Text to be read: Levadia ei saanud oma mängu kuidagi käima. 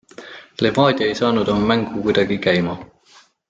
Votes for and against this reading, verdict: 2, 0, accepted